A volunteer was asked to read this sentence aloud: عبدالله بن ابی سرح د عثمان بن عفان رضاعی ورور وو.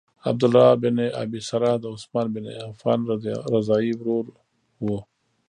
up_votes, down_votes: 1, 2